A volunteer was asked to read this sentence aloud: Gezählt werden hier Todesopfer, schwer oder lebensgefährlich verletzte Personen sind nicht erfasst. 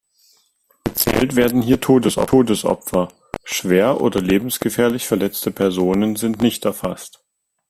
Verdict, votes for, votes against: rejected, 0, 2